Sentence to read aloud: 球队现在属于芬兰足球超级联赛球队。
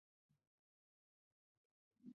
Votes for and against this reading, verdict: 0, 2, rejected